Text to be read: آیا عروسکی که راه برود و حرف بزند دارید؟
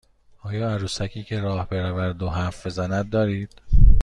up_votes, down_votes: 2, 0